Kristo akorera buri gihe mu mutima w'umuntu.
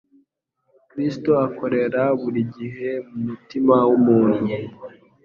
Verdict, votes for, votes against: accepted, 3, 0